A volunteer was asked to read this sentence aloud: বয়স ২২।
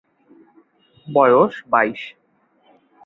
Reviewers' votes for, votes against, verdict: 0, 2, rejected